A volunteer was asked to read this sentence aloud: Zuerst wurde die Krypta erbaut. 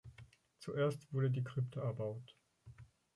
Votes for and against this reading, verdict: 2, 4, rejected